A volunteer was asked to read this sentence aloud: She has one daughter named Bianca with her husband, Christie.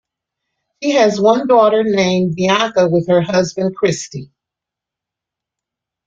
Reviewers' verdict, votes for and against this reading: accepted, 2, 0